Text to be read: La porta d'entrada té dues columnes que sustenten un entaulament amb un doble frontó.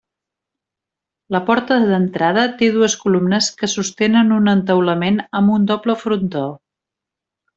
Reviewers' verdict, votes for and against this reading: rejected, 1, 2